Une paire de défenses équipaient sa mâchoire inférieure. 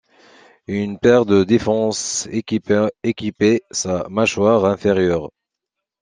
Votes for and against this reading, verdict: 0, 2, rejected